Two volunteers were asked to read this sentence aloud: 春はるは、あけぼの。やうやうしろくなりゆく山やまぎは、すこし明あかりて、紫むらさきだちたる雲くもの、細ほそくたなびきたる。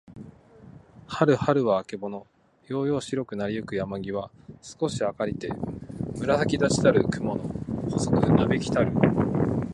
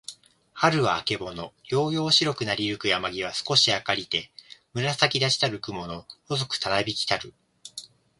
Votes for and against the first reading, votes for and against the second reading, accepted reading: 1, 2, 2, 0, second